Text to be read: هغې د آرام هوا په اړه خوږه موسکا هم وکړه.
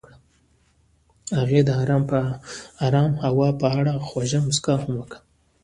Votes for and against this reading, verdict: 0, 2, rejected